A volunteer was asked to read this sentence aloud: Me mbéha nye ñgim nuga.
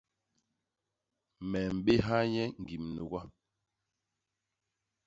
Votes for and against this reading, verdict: 0, 2, rejected